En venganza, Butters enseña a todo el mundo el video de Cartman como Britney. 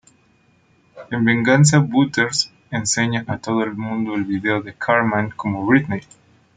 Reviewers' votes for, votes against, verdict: 2, 0, accepted